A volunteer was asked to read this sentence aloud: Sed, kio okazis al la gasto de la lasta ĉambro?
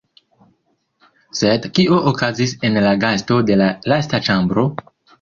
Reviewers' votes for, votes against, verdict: 0, 2, rejected